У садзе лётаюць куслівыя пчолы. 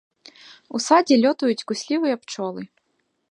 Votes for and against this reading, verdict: 3, 0, accepted